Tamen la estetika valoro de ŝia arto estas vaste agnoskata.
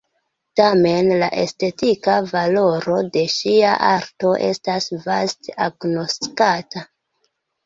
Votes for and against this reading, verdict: 2, 0, accepted